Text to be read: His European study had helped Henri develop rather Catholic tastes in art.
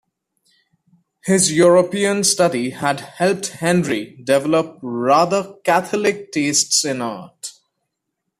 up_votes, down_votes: 2, 1